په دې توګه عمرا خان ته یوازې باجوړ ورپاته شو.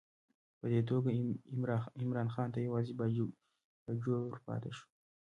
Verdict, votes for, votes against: rejected, 0, 2